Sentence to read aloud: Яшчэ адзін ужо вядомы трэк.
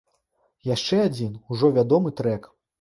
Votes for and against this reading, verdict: 2, 0, accepted